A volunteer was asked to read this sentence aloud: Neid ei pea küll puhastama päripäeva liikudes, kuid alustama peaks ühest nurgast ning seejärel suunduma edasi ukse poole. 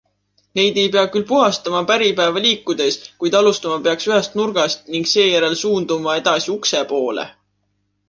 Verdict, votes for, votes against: accepted, 2, 0